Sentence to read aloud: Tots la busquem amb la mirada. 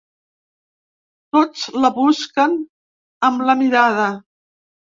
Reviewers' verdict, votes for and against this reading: rejected, 1, 2